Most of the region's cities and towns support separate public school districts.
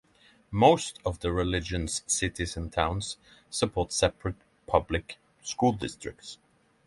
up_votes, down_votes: 3, 3